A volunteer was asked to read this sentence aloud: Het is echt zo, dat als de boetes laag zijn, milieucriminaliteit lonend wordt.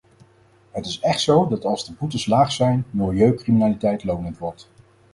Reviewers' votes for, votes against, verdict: 4, 0, accepted